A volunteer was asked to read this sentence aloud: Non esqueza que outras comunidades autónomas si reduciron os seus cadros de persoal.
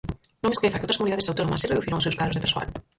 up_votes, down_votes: 0, 4